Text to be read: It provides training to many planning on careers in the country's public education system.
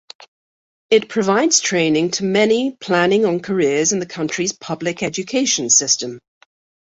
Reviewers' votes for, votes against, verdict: 2, 0, accepted